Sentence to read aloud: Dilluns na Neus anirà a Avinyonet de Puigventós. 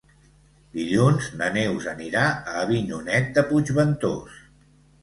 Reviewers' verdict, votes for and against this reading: accepted, 2, 0